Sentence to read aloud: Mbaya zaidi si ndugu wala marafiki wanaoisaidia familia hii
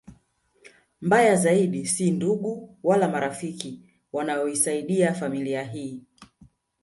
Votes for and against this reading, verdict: 0, 2, rejected